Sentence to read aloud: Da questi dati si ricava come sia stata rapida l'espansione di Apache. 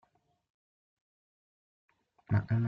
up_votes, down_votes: 0, 6